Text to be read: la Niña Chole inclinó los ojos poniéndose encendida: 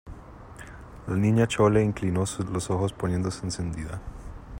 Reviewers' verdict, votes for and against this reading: rejected, 0, 2